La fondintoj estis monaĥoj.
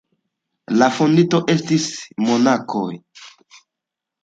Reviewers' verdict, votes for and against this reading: rejected, 0, 2